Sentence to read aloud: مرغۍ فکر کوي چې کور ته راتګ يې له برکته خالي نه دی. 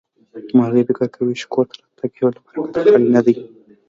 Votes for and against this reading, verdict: 2, 0, accepted